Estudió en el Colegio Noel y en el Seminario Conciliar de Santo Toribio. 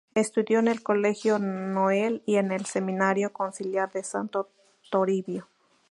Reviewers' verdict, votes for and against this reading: accepted, 2, 0